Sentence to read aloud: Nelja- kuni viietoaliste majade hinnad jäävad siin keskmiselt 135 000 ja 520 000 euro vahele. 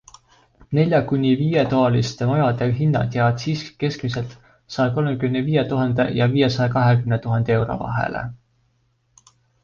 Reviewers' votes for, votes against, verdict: 0, 2, rejected